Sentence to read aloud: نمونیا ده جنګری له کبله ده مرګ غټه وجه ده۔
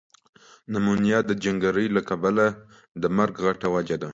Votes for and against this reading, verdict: 0, 2, rejected